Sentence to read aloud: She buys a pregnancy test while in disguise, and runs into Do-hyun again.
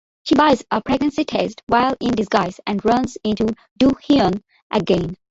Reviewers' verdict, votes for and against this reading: accepted, 2, 1